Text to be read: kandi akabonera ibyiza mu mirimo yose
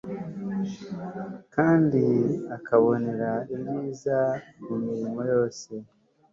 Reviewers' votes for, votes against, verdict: 3, 0, accepted